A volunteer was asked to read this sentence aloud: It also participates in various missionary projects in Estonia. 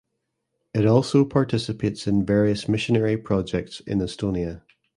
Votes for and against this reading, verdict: 2, 0, accepted